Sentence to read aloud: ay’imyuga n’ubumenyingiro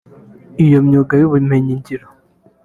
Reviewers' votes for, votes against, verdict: 1, 2, rejected